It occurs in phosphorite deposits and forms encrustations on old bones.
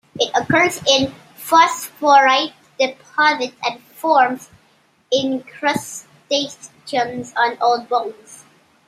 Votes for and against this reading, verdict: 0, 2, rejected